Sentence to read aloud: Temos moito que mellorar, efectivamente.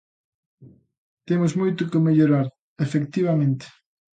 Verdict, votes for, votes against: accepted, 3, 0